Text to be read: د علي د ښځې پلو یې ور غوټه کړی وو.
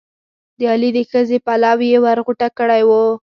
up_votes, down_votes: 2, 4